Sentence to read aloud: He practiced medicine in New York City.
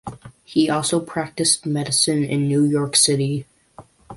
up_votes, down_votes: 0, 2